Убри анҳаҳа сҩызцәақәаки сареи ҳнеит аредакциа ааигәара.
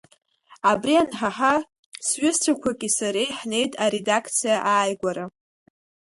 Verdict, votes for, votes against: rejected, 0, 2